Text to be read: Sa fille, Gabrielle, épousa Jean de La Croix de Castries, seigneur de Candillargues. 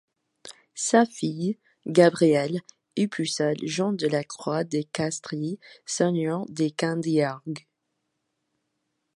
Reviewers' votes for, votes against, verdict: 1, 2, rejected